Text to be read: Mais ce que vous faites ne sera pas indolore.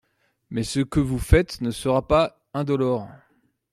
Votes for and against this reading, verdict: 2, 0, accepted